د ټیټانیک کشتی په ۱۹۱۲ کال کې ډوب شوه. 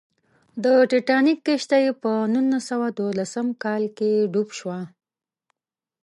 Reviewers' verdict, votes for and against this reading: rejected, 0, 2